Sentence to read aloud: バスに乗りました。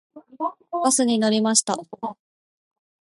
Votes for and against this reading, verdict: 2, 0, accepted